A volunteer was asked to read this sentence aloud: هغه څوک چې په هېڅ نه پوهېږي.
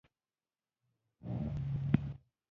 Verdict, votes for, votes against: rejected, 1, 2